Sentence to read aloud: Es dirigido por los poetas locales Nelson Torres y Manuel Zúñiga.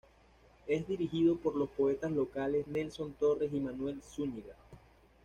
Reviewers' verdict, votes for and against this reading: accepted, 2, 0